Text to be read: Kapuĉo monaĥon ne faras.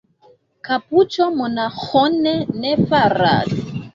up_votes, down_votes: 0, 2